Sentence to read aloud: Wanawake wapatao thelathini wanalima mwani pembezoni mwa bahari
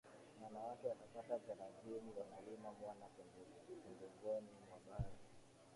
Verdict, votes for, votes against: accepted, 2, 0